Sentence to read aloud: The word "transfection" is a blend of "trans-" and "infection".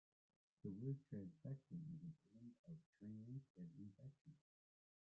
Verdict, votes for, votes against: rejected, 1, 2